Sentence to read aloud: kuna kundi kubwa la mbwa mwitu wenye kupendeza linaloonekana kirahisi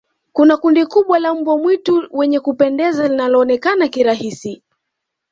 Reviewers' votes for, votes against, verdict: 2, 0, accepted